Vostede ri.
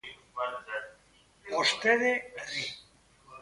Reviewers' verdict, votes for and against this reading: rejected, 0, 2